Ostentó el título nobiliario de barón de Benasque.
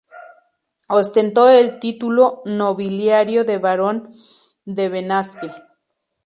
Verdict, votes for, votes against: rejected, 0, 2